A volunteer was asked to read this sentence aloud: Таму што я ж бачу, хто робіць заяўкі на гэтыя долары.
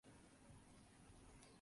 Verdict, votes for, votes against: rejected, 0, 2